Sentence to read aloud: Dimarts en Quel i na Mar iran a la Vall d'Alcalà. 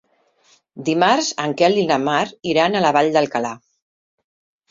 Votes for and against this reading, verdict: 3, 0, accepted